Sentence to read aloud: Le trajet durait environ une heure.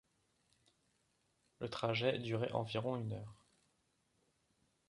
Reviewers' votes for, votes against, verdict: 3, 0, accepted